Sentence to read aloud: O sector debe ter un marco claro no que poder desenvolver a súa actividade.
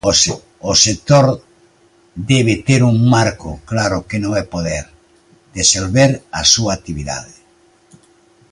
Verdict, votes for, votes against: rejected, 0, 2